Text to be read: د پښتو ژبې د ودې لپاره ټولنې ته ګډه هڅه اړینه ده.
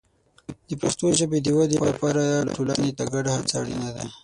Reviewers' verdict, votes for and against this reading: rejected, 3, 6